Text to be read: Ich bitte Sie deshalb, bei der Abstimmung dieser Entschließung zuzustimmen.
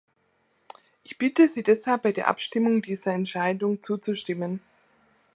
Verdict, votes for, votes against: rejected, 1, 2